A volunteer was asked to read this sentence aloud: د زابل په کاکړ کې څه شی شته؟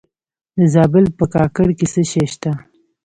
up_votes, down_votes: 1, 2